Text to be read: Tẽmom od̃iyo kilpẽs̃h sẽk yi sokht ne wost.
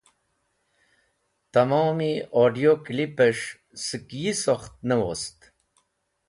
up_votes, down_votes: 2, 0